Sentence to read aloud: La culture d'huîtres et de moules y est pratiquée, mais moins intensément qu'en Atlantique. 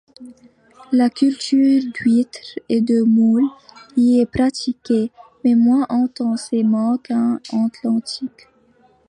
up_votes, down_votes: 1, 2